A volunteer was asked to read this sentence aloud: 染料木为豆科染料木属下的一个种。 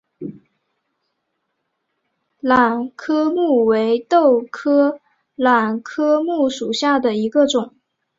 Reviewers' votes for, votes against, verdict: 0, 2, rejected